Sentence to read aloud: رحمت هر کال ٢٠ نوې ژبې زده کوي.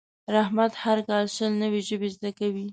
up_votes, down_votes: 0, 2